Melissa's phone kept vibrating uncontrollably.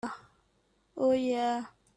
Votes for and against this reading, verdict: 0, 4, rejected